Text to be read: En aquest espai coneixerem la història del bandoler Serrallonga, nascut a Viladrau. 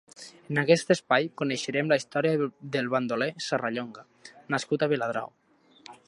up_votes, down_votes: 0, 2